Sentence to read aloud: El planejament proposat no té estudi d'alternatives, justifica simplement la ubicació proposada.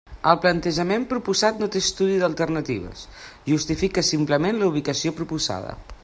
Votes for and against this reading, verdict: 1, 2, rejected